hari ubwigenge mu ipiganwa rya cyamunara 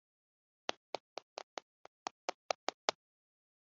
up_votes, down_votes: 0, 2